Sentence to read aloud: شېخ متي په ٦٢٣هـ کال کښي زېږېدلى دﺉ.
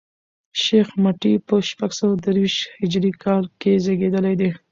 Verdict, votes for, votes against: rejected, 0, 2